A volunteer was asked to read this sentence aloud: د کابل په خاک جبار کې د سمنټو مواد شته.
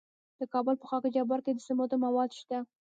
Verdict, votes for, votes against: rejected, 1, 2